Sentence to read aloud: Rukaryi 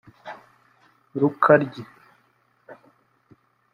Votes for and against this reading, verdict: 1, 2, rejected